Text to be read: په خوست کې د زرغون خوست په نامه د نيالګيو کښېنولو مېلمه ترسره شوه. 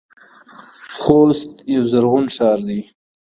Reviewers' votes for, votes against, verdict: 0, 2, rejected